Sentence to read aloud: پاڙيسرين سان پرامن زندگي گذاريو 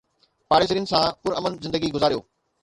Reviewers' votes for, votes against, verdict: 4, 0, accepted